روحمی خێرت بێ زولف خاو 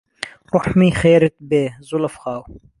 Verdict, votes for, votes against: accepted, 2, 1